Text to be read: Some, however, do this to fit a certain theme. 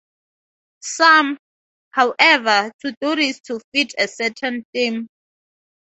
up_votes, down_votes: 0, 4